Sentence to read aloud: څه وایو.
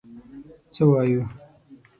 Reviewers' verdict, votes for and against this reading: accepted, 6, 0